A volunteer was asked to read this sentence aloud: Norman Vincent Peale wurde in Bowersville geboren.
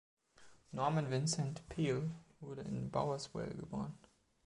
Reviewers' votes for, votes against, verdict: 2, 0, accepted